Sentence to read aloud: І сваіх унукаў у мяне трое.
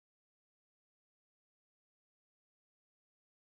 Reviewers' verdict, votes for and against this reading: rejected, 0, 2